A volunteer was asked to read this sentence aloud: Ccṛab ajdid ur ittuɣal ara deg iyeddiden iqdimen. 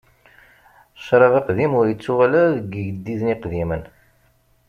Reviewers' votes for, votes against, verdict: 0, 2, rejected